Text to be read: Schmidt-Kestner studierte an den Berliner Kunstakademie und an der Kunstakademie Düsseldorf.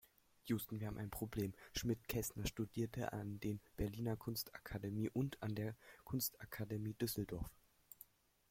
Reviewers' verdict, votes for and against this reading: rejected, 0, 2